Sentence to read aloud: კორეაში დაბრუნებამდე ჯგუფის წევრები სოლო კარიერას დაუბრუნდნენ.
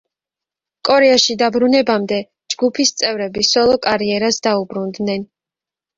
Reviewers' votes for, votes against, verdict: 2, 0, accepted